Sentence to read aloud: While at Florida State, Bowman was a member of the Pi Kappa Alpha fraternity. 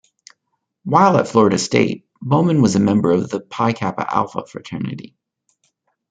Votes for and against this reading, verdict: 2, 0, accepted